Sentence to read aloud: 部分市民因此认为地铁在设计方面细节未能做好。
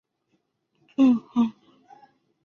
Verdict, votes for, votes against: rejected, 0, 3